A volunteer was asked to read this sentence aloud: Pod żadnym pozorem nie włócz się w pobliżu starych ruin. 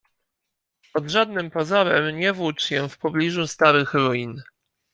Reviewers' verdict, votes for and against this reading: accepted, 2, 0